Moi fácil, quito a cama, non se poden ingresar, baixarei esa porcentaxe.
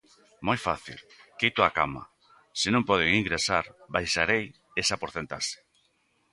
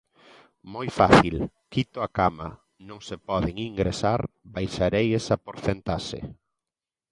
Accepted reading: second